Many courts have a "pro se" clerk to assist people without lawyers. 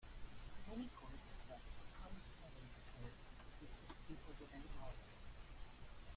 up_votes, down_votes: 0, 2